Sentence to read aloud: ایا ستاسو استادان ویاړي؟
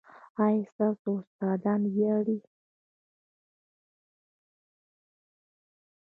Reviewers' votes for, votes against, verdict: 1, 2, rejected